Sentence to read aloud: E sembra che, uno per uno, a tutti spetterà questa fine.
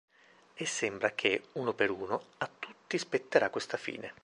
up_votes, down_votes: 4, 0